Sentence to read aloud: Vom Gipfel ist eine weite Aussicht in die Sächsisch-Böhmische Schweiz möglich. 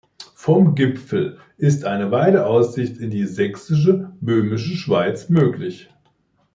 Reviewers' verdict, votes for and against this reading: rejected, 0, 2